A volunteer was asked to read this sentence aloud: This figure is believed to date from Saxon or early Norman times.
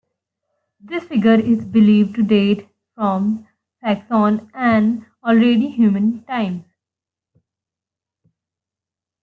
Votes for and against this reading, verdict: 0, 2, rejected